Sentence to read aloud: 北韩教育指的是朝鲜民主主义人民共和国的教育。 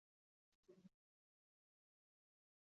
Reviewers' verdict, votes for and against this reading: rejected, 1, 2